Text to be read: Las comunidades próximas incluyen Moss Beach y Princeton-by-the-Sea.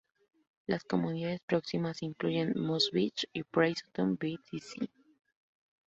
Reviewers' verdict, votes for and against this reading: rejected, 0, 2